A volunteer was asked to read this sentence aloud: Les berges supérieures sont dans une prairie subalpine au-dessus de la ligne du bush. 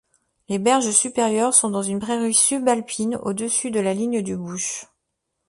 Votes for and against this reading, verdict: 2, 0, accepted